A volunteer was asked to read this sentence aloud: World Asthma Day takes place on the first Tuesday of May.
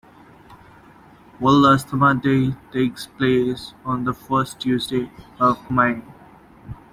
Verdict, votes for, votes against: accepted, 2, 0